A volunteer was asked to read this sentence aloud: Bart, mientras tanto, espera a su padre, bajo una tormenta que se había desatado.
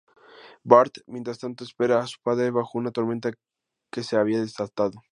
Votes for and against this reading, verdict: 2, 0, accepted